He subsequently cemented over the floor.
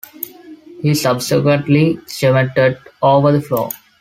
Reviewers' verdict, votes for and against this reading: accepted, 2, 0